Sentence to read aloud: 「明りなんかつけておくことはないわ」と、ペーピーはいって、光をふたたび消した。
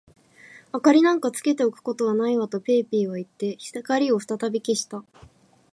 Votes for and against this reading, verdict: 2, 2, rejected